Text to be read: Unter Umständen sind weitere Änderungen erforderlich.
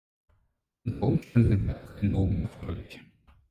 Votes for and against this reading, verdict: 1, 3, rejected